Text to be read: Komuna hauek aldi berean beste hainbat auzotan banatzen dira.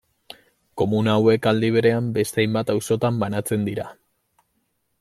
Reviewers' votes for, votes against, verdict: 2, 0, accepted